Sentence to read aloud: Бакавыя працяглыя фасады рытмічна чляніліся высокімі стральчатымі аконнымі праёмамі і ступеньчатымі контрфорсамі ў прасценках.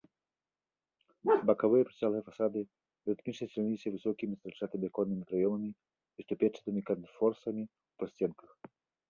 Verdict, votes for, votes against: rejected, 1, 2